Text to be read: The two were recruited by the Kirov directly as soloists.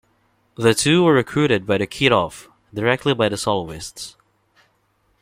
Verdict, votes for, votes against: rejected, 1, 2